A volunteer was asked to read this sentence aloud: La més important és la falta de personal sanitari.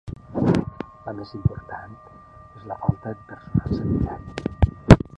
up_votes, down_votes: 0, 2